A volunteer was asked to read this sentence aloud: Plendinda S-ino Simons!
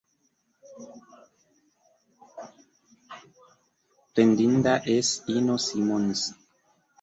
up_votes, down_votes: 0, 2